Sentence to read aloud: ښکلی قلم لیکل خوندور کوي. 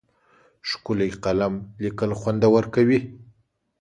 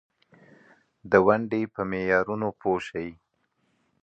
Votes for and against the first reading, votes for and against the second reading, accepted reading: 2, 0, 1, 2, first